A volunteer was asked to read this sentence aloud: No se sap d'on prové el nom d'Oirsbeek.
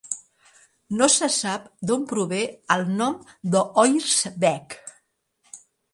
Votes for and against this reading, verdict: 2, 1, accepted